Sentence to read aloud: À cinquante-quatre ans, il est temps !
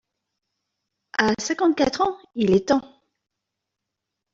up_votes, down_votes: 2, 1